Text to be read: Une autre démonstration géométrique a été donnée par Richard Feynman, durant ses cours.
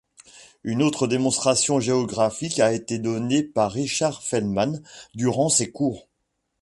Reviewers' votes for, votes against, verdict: 1, 2, rejected